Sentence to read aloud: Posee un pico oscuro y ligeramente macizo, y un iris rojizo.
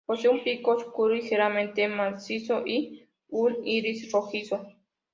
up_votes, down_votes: 2, 0